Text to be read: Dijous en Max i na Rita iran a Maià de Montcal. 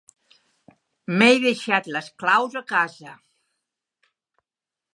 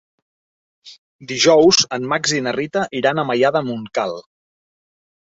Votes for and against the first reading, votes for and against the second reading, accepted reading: 0, 2, 3, 1, second